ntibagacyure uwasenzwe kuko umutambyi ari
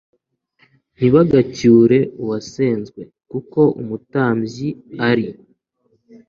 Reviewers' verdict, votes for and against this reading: accepted, 2, 0